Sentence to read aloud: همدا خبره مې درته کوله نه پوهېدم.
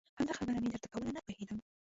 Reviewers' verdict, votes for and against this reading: rejected, 0, 2